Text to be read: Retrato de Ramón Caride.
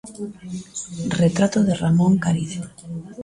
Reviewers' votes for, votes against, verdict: 0, 2, rejected